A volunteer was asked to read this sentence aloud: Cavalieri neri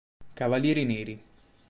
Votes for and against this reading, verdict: 2, 0, accepted